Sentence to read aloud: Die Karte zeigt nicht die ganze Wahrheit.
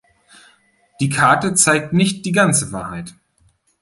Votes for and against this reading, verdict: 2, 0, accepted